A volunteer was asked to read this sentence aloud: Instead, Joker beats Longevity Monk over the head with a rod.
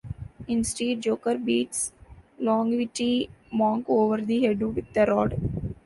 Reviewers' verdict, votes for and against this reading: rejected, 0, 2